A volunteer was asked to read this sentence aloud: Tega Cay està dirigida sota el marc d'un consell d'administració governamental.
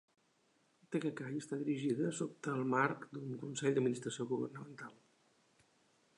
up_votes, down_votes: 4, 1